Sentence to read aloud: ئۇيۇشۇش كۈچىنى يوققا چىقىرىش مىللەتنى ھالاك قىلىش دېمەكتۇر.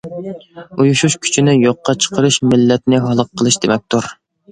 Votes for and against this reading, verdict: 2, 0, accepted